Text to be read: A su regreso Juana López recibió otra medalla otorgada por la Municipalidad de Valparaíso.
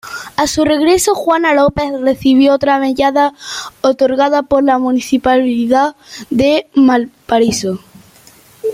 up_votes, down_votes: 1, 2